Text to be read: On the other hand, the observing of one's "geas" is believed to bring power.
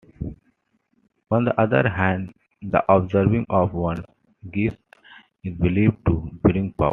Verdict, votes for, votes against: accepted, 2, 1